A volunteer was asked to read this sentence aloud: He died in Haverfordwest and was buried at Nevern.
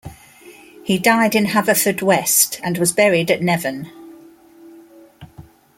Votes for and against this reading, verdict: 2, 0, accepted